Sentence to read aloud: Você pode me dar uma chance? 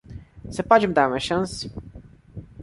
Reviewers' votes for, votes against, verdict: 1, 2, rejected